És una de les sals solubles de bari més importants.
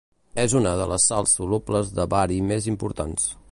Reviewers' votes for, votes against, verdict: 2, 0, accepted